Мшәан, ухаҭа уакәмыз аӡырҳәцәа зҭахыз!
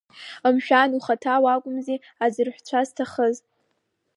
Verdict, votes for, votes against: rejected, 0, 2